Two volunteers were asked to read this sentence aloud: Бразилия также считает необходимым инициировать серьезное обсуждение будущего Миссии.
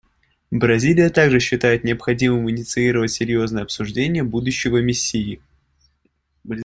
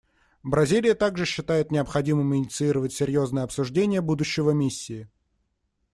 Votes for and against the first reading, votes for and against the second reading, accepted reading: 0, 2, 2, 0, second